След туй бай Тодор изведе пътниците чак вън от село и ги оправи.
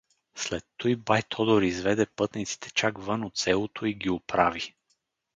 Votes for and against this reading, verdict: 2, 2, rejected